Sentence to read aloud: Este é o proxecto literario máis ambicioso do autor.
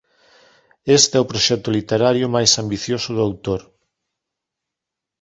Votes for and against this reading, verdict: 1, 2, rejected